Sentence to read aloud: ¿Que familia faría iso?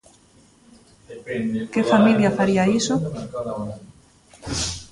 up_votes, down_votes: 1, 2